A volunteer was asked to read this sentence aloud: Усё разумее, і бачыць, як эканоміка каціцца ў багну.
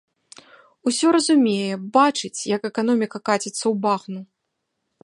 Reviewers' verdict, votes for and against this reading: rejected, 1, 2